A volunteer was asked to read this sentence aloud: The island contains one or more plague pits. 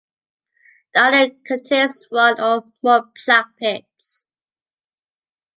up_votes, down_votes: 1, 2